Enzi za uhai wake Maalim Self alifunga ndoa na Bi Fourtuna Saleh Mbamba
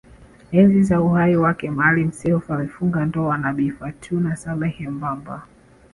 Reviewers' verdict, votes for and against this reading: accepted, 2, 0